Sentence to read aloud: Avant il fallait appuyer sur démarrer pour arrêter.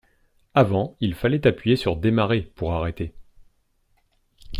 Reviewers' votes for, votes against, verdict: 2, 0, accepted